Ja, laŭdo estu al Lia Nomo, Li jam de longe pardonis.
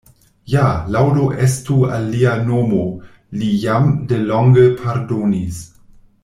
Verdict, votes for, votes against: accepted, 2, 0